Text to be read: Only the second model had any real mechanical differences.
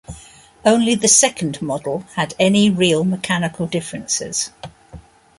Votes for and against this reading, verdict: 2, 0, accepted